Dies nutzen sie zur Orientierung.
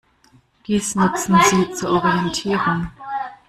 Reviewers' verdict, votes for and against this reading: rejected, 1, 2